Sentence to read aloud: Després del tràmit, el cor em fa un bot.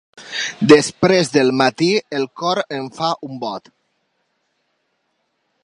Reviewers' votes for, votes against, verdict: 2, 3, rejected